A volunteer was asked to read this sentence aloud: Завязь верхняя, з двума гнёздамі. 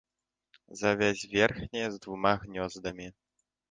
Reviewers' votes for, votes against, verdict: 0, 2, rejected